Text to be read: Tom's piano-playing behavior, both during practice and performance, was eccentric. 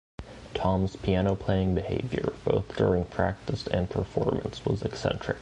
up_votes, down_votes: 2, 0